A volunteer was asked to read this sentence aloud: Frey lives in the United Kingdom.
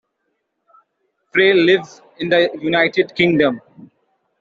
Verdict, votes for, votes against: accepted, 3, 1